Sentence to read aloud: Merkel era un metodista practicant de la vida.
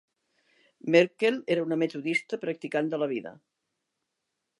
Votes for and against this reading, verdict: 2, 0, accepted